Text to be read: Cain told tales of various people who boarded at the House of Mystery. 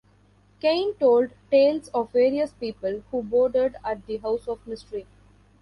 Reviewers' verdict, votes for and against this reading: accepted, 2, 0